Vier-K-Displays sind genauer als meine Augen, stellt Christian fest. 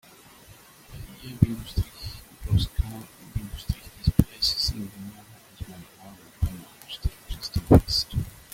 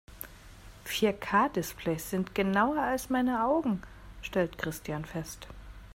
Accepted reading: second